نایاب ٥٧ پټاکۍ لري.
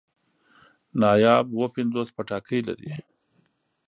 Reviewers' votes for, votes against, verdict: 0, 2, rejected